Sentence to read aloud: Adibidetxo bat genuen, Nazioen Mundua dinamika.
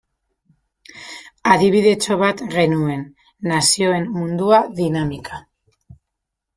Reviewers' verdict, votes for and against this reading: accepted, 2, 0